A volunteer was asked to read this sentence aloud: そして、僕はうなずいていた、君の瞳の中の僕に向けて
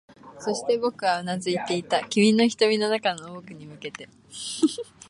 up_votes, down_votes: 1, 2